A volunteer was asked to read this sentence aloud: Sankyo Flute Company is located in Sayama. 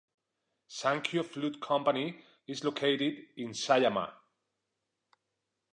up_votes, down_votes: 2, 0